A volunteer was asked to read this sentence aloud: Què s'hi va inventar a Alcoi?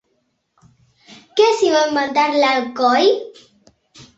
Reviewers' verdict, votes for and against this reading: rejected, 1, 2